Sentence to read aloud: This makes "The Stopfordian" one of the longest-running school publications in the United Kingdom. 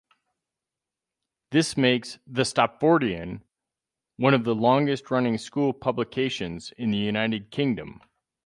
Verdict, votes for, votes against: accepted, 4, 0